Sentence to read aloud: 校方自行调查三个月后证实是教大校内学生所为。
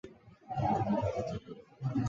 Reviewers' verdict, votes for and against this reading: rejected, 1, 3